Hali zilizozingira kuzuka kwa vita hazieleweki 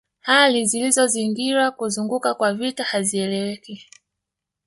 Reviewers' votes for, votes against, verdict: 2, 0, accepted